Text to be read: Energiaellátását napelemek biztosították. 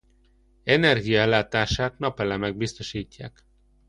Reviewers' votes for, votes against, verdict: 0, 2, rejected